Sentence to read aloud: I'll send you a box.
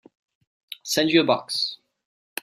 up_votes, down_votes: 2, 0